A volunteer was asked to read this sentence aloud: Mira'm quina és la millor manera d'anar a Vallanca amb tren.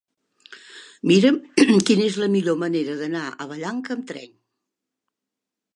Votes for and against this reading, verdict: 0, 2, rejected